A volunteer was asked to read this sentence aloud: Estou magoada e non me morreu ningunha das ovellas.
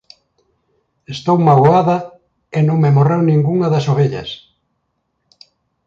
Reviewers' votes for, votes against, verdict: 2, 0, accepted